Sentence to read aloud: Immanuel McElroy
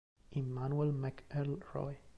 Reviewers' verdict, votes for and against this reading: accepted, 2, 1